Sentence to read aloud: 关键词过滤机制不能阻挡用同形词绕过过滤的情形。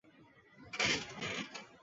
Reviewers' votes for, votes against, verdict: 0, 2, rejected